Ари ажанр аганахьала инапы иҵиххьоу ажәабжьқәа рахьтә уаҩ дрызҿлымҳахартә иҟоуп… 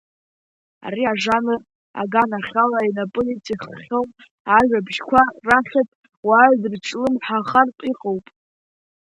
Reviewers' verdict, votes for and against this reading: accepted, 2, 0